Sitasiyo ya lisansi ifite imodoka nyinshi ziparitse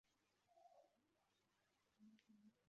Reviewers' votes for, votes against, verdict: 0, 2, rejected